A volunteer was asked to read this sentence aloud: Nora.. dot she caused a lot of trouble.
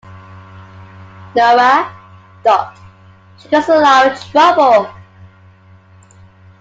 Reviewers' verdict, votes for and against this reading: rejected, 1, 2